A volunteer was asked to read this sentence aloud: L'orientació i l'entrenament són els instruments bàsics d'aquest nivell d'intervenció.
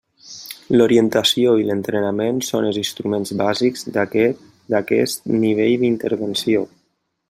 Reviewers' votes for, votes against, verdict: 0, 2, rejected